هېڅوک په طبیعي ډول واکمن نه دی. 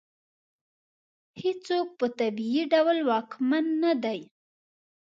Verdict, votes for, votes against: accepted, 2, 0